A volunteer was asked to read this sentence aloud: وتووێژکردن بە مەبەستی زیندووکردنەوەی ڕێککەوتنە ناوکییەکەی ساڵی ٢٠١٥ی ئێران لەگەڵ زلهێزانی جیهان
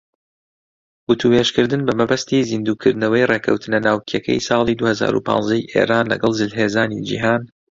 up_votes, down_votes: 0, 2